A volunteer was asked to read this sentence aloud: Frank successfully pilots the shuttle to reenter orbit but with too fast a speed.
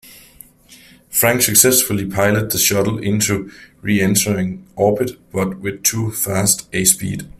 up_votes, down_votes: 1, 2